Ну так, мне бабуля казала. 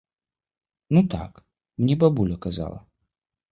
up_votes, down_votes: 2, 0